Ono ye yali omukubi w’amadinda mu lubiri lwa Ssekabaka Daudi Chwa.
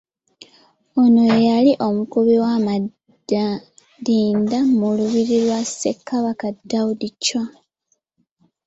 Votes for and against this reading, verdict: 1, 2, rejected